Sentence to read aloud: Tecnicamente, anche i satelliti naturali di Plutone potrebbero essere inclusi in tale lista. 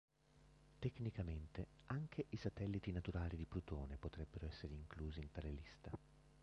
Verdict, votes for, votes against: rejected, 1, 2